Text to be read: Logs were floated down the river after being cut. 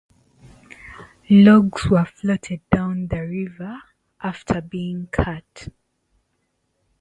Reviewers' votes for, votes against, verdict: 2, 2, rejected